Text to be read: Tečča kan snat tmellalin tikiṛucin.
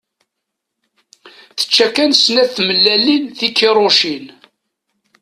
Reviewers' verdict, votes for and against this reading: accepted, 2, 0